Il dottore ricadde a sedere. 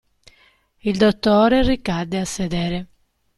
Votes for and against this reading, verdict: 2, 0, accepted